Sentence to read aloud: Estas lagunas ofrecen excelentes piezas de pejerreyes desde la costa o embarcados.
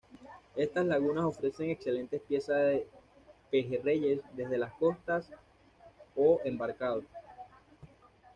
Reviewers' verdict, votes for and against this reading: rejected, 0, 2